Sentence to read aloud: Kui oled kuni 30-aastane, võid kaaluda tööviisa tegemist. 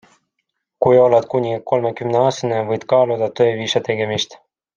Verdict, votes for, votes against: rejected, 0, 2